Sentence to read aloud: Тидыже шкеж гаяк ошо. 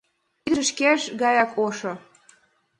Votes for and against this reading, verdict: 1, 2, rejected